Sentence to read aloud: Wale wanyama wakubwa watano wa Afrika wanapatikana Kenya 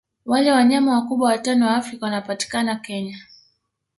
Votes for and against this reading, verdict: 1, 2, rejected